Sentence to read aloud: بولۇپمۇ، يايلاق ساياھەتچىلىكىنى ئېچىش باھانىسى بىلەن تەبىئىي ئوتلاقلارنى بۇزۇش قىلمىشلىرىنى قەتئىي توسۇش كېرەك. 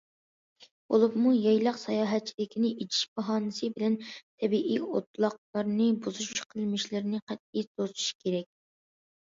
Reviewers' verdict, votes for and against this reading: accepted, 2, 0